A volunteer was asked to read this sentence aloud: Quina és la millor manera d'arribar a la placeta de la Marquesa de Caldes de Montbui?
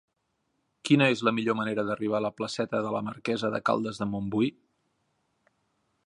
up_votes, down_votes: 2, 0